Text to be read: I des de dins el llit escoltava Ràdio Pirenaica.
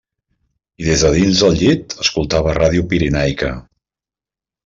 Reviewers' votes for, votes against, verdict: 2, 1, accepted